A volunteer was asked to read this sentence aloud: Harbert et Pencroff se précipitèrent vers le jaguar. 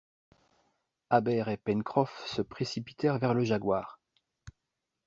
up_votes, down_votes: 0, 2